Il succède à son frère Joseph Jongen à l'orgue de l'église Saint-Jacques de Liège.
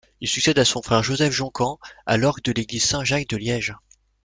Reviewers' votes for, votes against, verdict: 0, 2, rejected